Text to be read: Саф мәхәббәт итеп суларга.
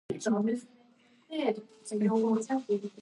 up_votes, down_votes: 0, 2